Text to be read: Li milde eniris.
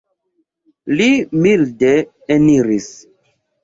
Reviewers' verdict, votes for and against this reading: accepted, 2, 0